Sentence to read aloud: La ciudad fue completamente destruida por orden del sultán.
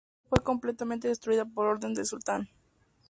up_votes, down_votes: 0, 2